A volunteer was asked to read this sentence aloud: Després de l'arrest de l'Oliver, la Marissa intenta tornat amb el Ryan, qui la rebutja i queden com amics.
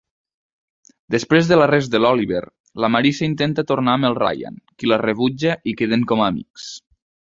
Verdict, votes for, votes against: accepted, 2, 1